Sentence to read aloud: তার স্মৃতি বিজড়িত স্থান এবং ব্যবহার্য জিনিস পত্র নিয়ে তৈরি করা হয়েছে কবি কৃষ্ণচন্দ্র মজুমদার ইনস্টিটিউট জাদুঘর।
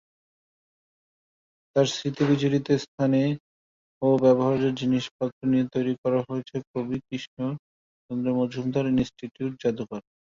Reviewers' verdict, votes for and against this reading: rejected, 0, 2